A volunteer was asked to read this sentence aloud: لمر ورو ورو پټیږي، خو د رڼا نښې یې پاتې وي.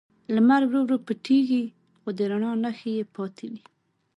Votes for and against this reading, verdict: 2, 0, accepted